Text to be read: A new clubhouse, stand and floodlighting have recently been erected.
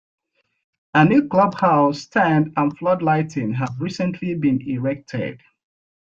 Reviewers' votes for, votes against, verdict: 2, 0, accepted